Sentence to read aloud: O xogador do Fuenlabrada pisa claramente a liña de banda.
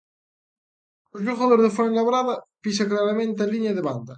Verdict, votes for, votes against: accepted, 2, 0